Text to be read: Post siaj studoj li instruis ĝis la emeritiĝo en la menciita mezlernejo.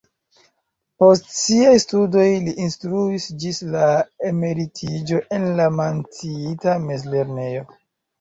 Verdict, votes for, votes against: rejected, 0, 2